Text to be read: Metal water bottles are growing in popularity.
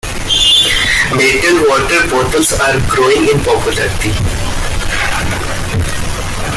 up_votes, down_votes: 0, 2